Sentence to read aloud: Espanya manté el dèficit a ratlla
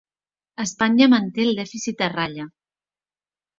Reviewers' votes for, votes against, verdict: 3, 1, accepted